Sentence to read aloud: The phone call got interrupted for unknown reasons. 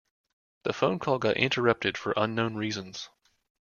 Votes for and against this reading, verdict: 2, 0, accepted